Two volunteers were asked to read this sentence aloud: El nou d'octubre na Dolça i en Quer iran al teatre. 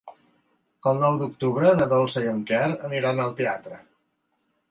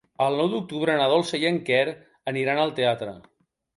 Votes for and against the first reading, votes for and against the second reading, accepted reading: 2, 0, 0, 2, first